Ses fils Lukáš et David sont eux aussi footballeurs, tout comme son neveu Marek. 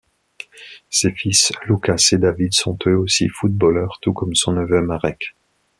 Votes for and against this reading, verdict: 2, 0, accepted